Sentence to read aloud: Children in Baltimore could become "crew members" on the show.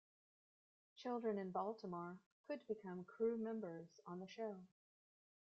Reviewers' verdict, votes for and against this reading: rejected, 1, 2